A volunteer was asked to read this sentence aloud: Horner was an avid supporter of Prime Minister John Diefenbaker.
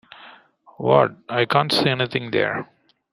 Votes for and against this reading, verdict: 0, 2, rejected